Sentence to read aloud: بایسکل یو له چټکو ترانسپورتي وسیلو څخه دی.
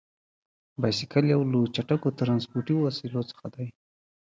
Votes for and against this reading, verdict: 1, 2, rejected